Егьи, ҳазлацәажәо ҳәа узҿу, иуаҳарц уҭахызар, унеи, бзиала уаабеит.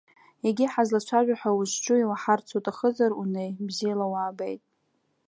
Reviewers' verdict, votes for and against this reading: accepted, 2, 0